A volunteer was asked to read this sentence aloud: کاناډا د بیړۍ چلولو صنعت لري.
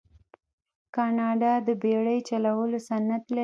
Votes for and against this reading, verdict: 2, 0, accepted